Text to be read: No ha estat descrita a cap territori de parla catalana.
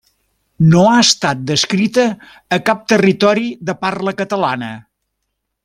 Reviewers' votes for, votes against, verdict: 3, 0, accepted